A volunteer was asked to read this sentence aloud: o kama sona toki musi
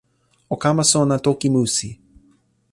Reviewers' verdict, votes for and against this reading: accepted, 2, 0